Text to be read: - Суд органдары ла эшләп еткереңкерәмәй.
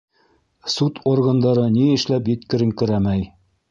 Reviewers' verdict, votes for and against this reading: rejected, 0, 2